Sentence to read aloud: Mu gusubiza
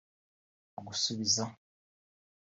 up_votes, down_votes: 1, 2